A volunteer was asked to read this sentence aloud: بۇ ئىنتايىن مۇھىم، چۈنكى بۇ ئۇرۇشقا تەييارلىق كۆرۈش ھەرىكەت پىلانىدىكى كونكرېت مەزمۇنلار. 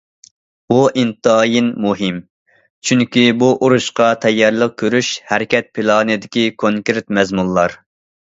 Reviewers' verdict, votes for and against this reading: accepted, 2, 0